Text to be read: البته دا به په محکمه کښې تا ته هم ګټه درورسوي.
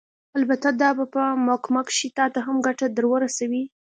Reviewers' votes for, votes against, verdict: 2, 1, accepted